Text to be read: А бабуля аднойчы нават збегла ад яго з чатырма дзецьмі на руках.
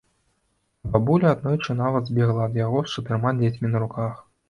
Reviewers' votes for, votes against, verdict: 2, 0, accepted